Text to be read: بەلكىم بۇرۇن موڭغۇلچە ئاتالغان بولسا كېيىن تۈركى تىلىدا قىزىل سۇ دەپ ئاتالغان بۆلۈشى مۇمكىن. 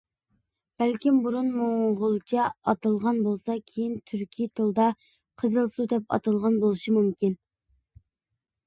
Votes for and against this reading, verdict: 2, 0, accepted